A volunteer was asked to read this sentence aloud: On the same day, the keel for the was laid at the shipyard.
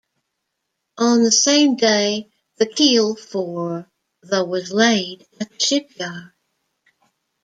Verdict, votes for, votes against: rejected, 0, 2